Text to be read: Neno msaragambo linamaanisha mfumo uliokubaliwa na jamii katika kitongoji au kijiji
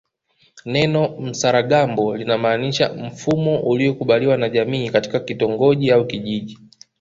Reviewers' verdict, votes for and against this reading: accepted, 2, 0